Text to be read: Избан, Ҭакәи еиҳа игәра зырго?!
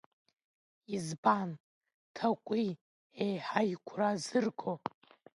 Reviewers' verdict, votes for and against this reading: rejected, 0, 2